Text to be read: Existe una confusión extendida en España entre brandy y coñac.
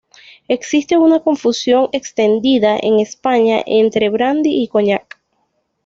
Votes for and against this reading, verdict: 2, 0, accepted